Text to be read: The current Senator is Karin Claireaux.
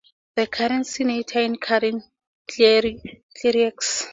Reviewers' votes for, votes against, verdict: 0, 2, rejected